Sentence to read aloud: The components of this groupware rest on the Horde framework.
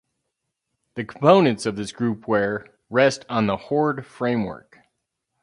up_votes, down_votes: 0, 2